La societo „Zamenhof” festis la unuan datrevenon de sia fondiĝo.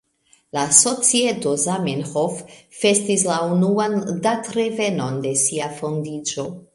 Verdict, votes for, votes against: accepted, 2, 1